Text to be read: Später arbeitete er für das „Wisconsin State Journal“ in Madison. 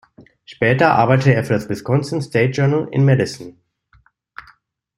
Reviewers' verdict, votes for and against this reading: rejected, 0, 2